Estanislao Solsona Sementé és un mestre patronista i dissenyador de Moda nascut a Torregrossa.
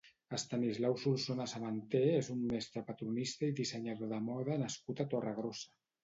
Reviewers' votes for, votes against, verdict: 1, 2, rejected